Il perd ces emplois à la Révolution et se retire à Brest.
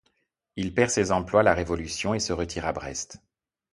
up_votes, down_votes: 1, 2